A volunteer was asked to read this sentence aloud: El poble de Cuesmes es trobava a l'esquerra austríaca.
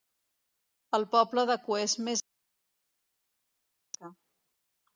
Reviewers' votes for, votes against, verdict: 0, 2, rejected